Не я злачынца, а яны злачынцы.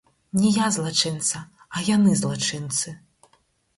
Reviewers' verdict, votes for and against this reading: rejected, 2, 4